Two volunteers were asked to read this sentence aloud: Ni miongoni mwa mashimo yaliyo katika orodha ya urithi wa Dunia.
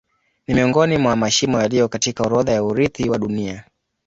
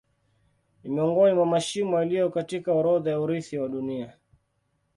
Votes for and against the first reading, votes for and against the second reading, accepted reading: 2, 0, 1, 2, first